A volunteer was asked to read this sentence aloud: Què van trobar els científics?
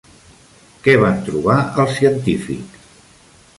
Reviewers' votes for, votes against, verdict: 2, 0, accepted